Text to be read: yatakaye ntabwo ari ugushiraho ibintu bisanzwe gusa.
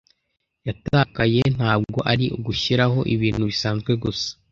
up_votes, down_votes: 2, 0